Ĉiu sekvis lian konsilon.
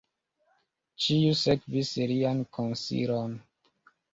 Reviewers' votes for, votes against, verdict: 1, 2, rejected